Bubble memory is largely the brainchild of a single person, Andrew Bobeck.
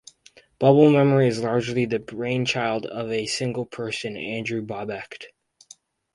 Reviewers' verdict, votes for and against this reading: rejected, 0, 2